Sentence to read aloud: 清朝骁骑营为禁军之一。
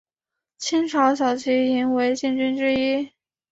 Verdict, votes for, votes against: accepted, 2, 0